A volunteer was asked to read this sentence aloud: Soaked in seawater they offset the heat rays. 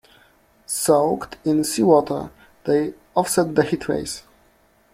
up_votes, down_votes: 2, 1